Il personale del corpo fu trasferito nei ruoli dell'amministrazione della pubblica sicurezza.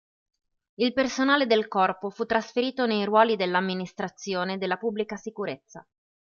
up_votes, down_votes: 2, 0